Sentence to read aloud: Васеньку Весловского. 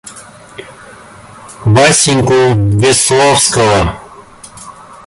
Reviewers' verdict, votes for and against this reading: accepted, 2, 1